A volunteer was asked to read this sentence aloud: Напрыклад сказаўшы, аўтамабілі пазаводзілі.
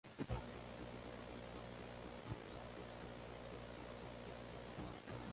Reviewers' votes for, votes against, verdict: 0, 2, rejected